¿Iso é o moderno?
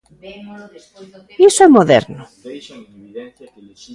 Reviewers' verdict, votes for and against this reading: rejected, 0, 2